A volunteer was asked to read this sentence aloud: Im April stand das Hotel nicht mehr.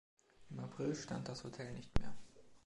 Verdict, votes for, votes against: accepted, 2, 0